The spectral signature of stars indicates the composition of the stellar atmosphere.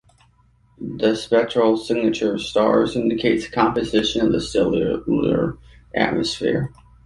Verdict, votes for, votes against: rejected, 0, 2